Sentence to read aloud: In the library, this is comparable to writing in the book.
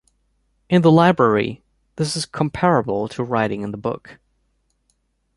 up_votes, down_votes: 2, 0